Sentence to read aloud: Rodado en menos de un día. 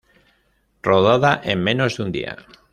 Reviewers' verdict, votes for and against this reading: rejected, 1, 2